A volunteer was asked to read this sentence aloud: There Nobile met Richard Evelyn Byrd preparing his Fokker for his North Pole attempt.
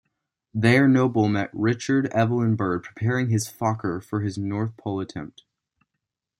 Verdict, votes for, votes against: accepted, 2, 0